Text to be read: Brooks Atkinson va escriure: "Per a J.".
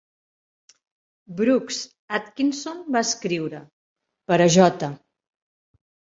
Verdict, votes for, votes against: accepted, 4, 0